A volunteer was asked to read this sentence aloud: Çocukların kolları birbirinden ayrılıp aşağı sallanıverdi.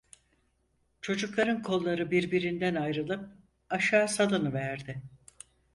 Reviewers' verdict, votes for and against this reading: rejected, 2, 4